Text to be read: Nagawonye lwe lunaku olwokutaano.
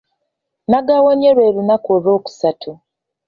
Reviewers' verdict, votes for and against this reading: rejected, 1, 2